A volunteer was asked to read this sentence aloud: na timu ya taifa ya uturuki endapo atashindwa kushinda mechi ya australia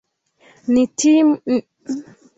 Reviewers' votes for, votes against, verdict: 0, 3, rejected